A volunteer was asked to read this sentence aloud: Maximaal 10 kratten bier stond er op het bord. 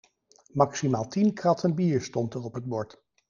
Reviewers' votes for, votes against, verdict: 0, 2, rejected